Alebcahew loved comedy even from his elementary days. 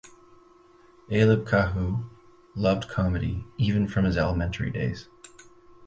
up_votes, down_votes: 4, 0